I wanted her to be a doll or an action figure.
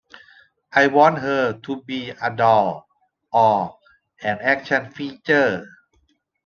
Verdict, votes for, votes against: rejected, 0, 2